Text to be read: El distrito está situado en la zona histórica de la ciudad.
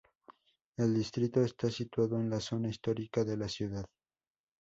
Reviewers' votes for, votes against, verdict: 2, 0, accepted